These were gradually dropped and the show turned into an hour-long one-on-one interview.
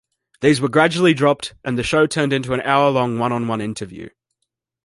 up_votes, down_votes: 2, 0